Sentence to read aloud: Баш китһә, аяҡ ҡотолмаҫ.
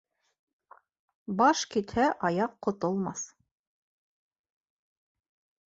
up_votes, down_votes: 2, 0